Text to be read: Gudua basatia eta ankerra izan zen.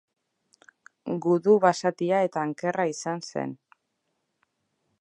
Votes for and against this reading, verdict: 0, 2, rejected